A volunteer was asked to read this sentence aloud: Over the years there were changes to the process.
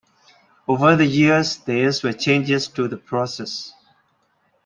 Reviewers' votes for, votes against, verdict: 0, 2, rejected